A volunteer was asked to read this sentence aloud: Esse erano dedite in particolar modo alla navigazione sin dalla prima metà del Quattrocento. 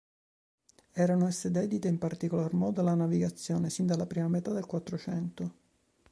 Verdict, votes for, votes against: rejected, 2, 3